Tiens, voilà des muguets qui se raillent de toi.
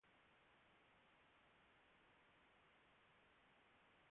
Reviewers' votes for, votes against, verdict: 0, 2, rejected